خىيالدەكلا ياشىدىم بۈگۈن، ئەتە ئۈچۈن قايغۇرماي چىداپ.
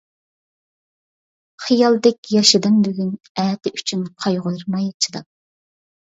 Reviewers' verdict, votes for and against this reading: rejected, 0, 2